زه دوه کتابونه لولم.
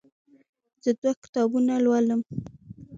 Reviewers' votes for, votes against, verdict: 2, 0, accepted